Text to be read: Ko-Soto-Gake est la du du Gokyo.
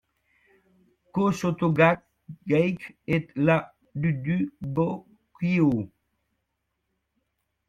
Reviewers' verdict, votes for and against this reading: rejected, 1, 2